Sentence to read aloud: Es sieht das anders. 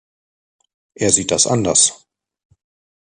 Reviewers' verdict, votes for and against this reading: rejected, 0, 2